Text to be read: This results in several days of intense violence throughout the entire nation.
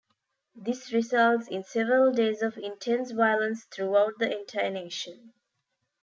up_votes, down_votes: 2, 0